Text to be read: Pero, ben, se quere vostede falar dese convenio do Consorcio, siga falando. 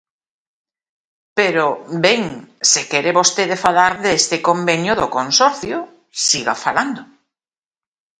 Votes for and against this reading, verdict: 0, 2, rejected